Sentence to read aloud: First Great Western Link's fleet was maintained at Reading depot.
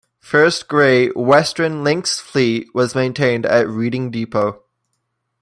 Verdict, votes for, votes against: rejected, 0, 2